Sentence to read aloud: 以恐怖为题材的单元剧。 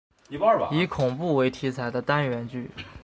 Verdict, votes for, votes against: accepted, 2, 0